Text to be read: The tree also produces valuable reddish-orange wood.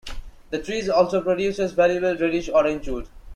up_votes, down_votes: 2, 0